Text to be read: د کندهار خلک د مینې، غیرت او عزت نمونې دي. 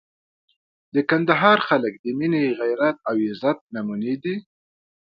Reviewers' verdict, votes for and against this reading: accepted, 2, 0